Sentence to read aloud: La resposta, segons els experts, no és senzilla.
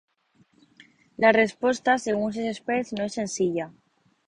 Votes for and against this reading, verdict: 2, 3, rejected